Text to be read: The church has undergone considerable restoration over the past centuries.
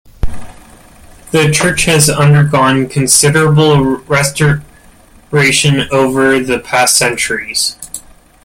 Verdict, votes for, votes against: rejected, 0, 2